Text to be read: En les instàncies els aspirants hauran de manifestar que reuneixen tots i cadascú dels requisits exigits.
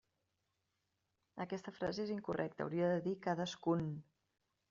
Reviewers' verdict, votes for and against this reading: rejected, 0, 2